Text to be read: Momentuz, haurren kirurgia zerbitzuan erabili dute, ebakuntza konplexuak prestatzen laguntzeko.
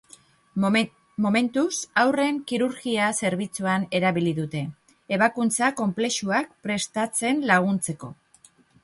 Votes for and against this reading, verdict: 0, 2, rejected